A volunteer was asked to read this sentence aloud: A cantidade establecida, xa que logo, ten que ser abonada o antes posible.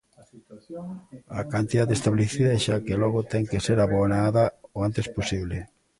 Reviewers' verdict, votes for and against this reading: rejected, 1, 2